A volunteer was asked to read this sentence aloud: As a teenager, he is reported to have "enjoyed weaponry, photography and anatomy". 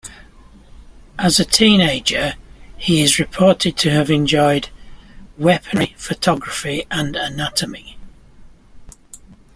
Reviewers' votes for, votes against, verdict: 2, 1, accepted